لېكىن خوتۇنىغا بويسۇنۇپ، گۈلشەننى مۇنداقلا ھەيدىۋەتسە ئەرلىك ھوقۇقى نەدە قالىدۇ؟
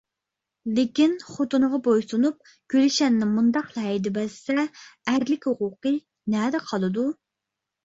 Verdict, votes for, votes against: accepted, 2, 0